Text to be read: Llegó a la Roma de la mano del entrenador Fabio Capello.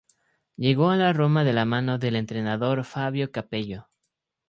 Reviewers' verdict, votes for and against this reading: accepted, 2, 0